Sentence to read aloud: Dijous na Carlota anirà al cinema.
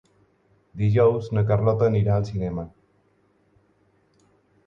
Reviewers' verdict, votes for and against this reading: accepted, 4, 0